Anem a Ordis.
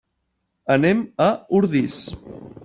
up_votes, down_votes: 1, 2